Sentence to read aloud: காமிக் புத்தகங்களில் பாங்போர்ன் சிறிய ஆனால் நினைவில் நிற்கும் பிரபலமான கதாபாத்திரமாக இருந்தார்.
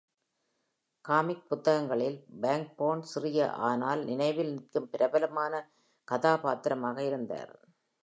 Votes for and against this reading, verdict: 2, 0, accepted